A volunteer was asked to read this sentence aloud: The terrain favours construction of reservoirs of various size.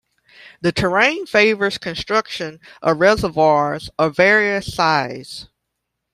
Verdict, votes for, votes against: accepted, 2, 0